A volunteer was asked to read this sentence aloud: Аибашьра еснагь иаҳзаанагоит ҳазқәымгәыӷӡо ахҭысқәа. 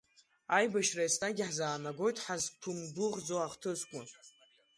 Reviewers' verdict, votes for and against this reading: accepted, 3, 1